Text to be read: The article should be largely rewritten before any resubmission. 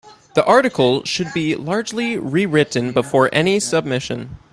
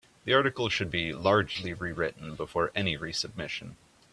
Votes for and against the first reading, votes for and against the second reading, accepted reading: 0, 2, 2, 0, second